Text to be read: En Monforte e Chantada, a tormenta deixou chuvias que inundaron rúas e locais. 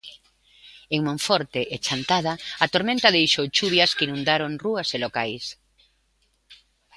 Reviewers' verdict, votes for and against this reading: accepted, 2, 0